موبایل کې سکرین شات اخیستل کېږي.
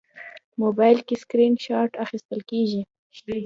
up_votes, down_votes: 2, 0